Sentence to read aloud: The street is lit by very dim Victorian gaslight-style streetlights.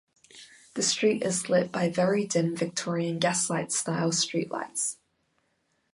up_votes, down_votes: 2, 1